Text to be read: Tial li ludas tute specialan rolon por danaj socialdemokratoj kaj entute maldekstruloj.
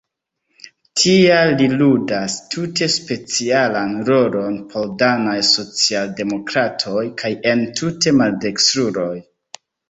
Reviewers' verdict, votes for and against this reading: rejected, 1, 2